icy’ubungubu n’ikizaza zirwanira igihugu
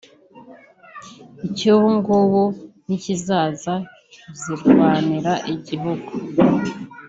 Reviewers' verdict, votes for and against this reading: accepted, 2, 1